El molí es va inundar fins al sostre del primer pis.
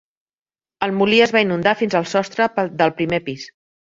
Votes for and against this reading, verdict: 0, 2, rejected